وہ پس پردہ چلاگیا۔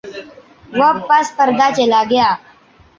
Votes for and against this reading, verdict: 1, 2, rejected